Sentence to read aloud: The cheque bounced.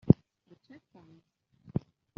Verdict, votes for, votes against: rejected, 0, 2